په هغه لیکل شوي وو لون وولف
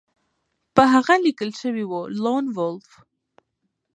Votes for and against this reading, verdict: 2, 0, accepted